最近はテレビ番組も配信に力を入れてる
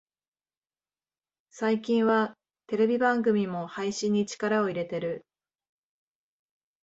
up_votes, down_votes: 2, 0